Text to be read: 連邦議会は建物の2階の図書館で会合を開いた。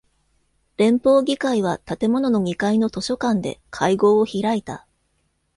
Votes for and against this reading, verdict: 0, 2, rejected